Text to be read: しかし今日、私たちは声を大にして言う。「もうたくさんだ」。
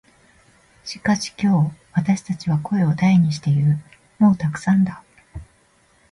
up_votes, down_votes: 1, 2